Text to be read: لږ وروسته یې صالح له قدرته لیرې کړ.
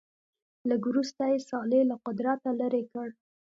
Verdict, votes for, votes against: accepted, 2, 0